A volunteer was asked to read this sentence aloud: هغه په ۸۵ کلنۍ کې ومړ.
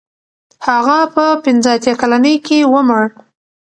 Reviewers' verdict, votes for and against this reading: rejected, 0, 2